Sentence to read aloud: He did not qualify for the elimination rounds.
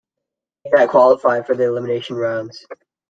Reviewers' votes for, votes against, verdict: 0, 2, rejected